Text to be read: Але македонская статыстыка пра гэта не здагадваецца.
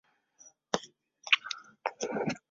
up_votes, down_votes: 0, 2